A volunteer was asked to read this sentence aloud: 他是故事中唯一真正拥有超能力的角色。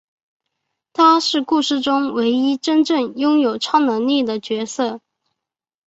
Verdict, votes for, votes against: accepted, 3, 1